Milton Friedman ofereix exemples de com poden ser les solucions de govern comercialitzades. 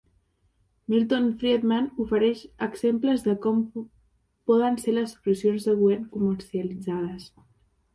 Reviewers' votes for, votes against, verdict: 0, 2, rejected